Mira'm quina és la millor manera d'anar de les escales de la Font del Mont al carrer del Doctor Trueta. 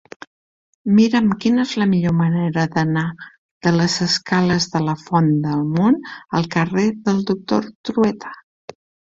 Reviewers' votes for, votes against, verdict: 3, 1, accepted